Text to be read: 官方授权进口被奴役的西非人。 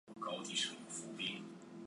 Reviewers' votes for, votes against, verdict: 0, 2, rejected